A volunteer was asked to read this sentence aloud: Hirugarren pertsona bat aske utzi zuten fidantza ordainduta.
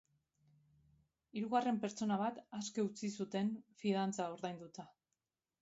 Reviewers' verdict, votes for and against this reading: rejected, 2, 2